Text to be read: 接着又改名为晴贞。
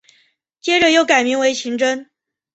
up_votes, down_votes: 2, 0